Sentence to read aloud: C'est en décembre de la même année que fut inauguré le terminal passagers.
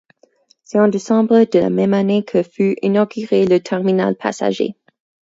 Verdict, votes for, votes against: accepted, 4, 0